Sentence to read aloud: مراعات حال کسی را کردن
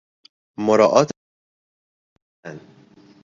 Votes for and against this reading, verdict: 1, 2, rejected